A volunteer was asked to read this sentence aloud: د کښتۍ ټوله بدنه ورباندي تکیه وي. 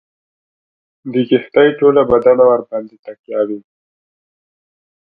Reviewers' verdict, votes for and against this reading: accepted, 2, 0